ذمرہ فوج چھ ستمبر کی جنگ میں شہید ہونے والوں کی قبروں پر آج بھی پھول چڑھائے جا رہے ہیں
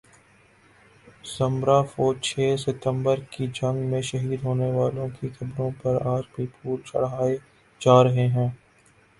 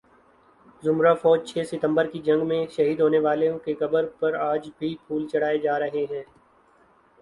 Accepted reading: second